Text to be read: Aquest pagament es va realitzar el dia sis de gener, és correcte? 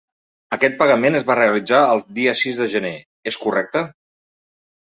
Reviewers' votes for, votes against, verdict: 3, 0, accepted